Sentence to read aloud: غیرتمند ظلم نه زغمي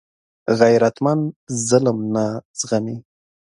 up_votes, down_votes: 2, 0